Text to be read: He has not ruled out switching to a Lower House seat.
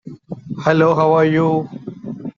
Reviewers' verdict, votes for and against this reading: rejected, 0, 2